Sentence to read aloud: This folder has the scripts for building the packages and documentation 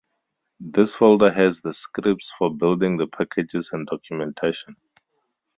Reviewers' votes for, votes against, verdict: 2, 0, accepted